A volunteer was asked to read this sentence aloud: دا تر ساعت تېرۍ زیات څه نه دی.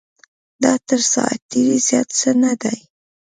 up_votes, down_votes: 2, 0